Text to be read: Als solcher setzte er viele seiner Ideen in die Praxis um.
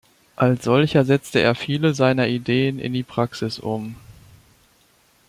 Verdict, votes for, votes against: accepted, 2, 0